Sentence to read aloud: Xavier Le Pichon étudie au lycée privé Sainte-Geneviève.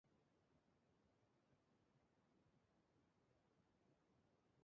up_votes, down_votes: 0, 2